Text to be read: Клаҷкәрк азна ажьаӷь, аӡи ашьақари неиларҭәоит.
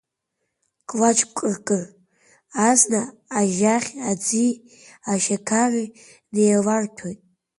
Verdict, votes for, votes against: accepted, 2, 1